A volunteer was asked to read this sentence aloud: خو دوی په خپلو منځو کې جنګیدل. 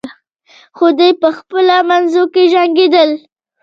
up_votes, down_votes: 1, 2